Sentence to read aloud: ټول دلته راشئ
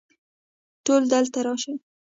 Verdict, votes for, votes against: rejected, 1, 2